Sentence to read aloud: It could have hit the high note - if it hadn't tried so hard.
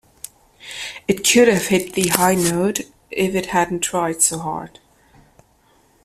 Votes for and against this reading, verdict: 2, 0, accepted